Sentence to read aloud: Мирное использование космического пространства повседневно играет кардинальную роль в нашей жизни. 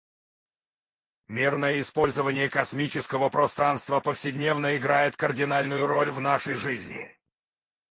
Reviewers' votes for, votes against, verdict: 0, 4, rejected